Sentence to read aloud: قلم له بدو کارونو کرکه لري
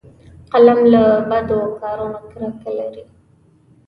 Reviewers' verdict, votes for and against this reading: accepted, 2, 0